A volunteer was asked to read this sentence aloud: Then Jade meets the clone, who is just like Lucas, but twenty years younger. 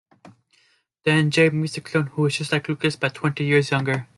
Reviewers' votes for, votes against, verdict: 2, 0, accepted